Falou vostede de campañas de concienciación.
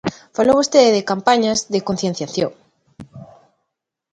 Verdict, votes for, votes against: accepted, 2, 0